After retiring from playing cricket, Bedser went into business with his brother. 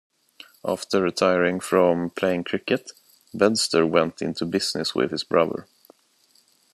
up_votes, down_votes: 0, 2